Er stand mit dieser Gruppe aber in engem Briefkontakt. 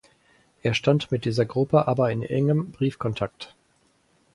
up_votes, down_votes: 4, 0